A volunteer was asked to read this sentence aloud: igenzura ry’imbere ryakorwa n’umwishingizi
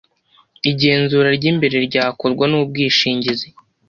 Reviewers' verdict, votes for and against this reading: accepted, 2, 0